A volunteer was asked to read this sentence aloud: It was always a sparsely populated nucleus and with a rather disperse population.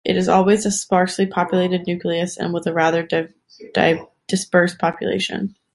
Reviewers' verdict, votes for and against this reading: rejected, 0, 2